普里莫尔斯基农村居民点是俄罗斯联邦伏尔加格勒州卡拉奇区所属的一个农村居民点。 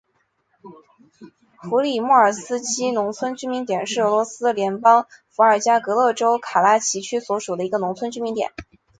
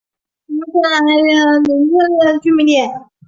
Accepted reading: first